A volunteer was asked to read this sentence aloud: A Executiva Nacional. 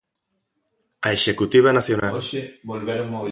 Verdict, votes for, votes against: rejected, 1, 2